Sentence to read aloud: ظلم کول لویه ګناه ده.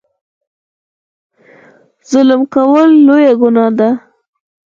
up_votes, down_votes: 0, 4